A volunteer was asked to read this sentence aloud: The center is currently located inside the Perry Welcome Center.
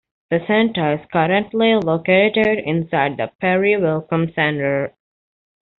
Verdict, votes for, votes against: accepted, 2, 0